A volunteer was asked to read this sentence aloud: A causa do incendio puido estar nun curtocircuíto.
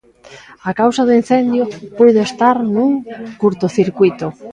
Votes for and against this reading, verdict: 2, 0, accepted